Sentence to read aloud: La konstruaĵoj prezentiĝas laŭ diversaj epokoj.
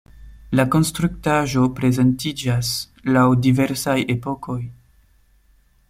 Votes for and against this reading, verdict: 0, 2, rejected